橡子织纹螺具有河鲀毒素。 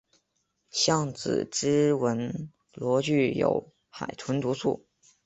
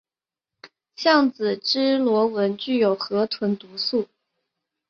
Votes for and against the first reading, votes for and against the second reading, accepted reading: 2, 3, 4, 0, second